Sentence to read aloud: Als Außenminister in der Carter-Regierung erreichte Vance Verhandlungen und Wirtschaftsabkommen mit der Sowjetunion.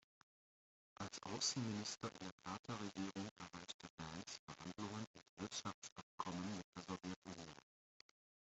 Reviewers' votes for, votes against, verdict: 0, 2, rejected